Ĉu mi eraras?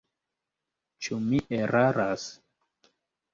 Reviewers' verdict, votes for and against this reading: accepted, 2, 0